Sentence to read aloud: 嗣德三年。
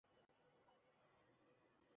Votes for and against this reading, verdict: 0, 4, rejected